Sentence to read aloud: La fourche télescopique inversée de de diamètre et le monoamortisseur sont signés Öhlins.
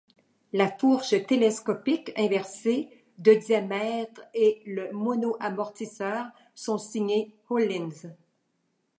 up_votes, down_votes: 1, 2